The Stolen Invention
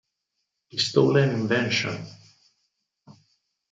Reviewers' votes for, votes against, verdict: 0, 4, rejected